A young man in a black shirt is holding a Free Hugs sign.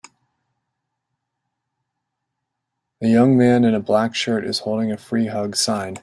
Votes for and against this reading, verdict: 2, 0, accepted